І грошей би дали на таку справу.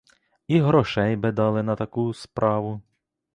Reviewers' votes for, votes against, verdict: 2, 0, accepted